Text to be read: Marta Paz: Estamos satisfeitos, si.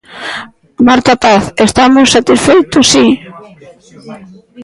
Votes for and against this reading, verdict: 2, 1, accepted